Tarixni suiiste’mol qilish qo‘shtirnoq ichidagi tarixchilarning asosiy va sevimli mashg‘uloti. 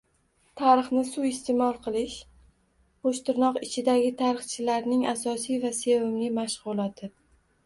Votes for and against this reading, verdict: 2, 0, accepted